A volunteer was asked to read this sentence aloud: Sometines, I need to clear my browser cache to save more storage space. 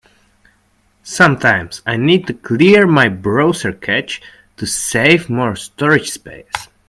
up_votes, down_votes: 0, 2